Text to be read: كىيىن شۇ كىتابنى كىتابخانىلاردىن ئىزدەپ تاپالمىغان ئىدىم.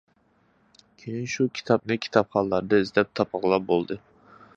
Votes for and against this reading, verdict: 0, 2, rejected